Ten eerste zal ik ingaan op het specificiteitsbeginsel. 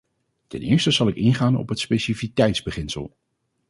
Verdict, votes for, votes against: rejected, 0, 2